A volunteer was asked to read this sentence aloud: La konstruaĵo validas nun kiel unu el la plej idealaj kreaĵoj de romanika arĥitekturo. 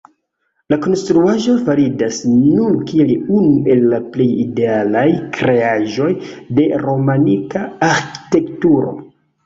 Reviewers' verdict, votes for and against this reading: rejected, 1, 2